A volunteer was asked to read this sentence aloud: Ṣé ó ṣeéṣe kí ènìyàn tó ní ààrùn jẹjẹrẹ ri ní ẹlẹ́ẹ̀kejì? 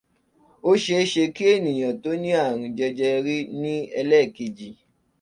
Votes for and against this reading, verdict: 0, 2, rejected